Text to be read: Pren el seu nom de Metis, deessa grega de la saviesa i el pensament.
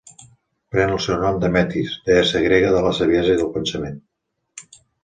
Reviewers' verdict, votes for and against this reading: accepted, 2, 1